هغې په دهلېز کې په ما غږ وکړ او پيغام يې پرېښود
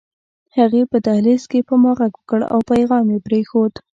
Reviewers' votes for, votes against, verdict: 2, 0, accepted